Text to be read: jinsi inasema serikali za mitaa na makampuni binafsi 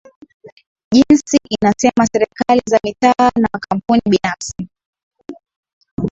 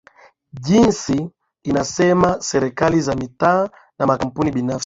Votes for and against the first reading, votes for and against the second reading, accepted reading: 3, 1, 10, 10, first